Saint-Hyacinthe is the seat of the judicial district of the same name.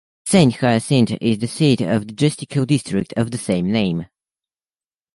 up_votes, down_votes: 1, 2